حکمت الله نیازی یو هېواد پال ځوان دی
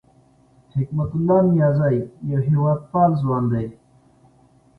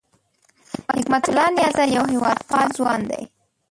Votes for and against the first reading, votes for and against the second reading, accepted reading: 2, 0, 0, 2, first